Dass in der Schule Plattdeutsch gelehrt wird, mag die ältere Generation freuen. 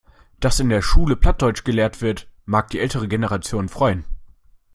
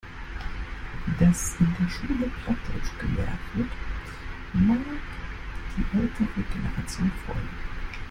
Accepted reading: first